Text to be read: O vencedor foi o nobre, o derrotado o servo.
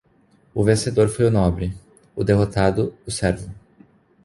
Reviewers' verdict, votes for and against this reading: accepted, 2, 0